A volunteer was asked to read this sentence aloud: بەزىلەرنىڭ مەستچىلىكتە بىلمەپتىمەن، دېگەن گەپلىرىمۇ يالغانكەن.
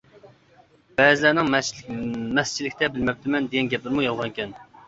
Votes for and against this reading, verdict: 0, 2, rejected